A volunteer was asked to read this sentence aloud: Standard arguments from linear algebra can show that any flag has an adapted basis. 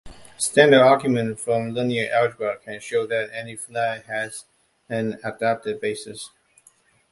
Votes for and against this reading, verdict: 2, 0, accepted